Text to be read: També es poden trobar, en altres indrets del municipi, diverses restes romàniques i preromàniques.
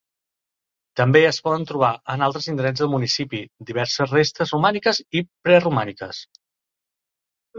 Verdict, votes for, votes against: accepted, 2, 0